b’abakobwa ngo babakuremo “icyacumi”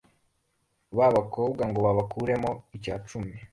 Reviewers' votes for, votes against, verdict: 2, 0, accepted